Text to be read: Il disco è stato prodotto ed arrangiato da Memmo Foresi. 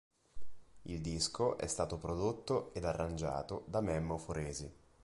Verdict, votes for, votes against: accepted, 2, 0